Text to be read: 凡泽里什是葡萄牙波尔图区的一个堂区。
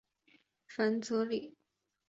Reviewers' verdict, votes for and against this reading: accepted, 3, 2